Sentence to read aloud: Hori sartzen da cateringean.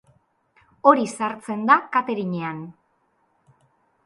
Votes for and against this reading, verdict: 2, 0, accepted